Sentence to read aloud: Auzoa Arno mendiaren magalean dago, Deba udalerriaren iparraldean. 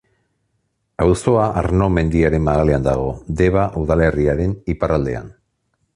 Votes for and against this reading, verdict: 2, 0, accepted